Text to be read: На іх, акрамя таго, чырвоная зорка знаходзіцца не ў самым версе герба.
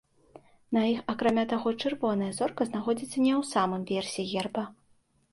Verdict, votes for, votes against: accepted, 2, 0